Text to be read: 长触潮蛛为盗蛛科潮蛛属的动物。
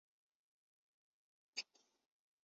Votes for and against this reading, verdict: 0, 2, rejected